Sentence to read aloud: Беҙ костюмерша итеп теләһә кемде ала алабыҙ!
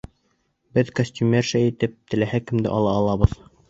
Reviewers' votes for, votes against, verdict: 2, 0, accepted